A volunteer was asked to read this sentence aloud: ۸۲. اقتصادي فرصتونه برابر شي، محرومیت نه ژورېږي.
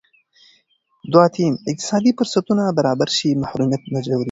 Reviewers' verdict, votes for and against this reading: rejected, 0, 2